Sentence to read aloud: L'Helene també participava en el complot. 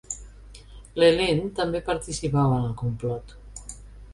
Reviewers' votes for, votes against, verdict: 2, 0, accepted